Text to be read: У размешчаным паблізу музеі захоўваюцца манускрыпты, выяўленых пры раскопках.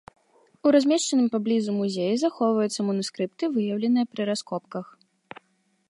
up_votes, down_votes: 0, 3